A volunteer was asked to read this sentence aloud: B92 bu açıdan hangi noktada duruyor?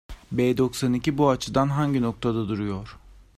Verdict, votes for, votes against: rejected, 0, 2